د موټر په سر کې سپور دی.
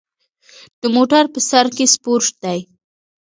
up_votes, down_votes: 1, 2